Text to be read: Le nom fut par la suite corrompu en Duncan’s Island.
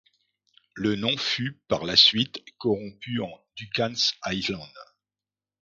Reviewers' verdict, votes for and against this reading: rejected, 0, 2